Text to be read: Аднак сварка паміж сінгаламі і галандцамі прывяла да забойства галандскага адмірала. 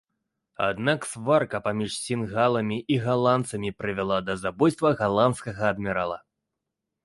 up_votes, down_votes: 2, 0